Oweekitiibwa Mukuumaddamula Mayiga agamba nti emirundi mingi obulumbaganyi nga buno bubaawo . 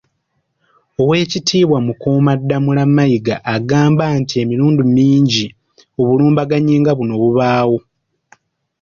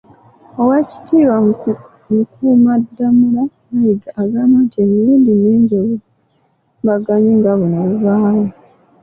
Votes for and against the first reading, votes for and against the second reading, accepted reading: 2, 1, 0, 2, first